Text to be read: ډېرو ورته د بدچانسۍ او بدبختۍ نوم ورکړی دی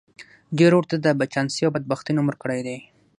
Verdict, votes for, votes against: accepted, 3, 0